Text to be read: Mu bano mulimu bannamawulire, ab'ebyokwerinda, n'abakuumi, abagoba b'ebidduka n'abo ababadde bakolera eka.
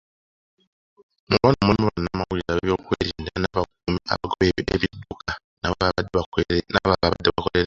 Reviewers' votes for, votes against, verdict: 0, 2, rejected